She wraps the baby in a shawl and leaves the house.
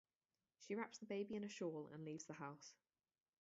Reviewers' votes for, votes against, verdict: 4, 0, accepted